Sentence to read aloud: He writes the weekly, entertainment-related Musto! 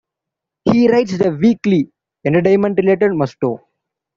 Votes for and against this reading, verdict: 2, 0, accepted